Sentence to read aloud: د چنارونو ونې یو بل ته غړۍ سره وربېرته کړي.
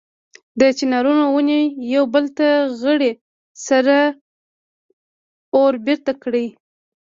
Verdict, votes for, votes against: accepted, 2, 0